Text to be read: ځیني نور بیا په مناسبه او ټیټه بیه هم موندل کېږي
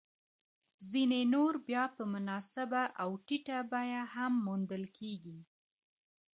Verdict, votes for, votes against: rejected, 0, 2